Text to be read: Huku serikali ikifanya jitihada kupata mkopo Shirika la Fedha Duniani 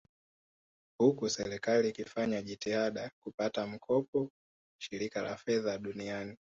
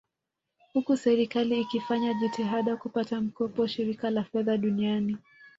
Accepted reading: first